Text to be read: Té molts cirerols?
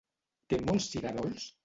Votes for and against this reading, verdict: 0, 2, rejected